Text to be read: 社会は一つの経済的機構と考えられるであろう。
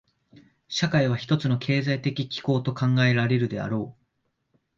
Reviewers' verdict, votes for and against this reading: accepted, 2, 0